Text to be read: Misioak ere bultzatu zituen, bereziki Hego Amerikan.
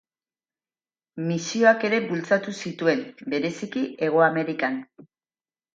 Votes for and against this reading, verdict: 8, 0, accepted